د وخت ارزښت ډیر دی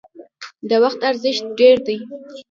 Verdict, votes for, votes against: accepted, 2, 0